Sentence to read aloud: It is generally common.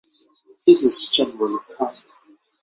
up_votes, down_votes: 0, 6